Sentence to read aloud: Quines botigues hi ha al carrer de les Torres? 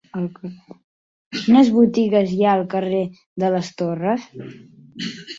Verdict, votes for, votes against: rejected, 1, 2